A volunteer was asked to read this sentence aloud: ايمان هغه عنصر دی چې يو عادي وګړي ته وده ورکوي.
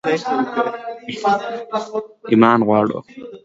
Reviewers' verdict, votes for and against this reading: rejected, 1, 2